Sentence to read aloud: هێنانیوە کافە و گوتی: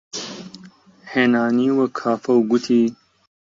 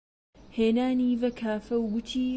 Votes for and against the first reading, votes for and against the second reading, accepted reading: 2, 1, 0, 2, first